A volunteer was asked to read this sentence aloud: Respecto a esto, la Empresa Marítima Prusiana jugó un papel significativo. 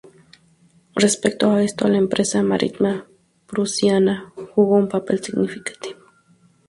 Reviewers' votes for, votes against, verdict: 0, 2, rejected